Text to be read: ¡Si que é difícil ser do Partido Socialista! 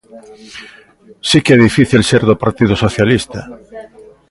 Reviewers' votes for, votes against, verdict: 2, 0, accepted